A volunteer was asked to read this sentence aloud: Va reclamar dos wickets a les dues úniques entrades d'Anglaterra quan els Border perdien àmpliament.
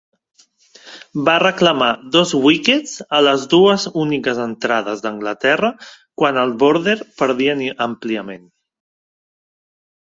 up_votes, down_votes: 2, 3